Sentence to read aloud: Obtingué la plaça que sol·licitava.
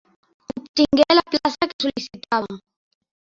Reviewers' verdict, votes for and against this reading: rejected, 0, 2